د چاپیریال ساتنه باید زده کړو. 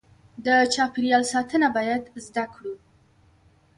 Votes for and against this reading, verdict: 1, 2, rejected